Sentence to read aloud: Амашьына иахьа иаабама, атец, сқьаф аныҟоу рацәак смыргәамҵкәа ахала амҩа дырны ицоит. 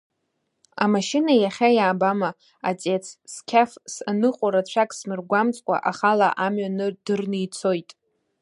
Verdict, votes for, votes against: rejected, 1, 2